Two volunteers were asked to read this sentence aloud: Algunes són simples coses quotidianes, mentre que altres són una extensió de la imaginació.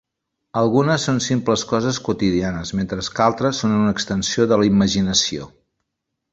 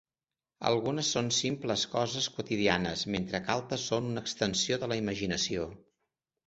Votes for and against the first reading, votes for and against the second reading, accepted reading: 1, 2, 2, 0, second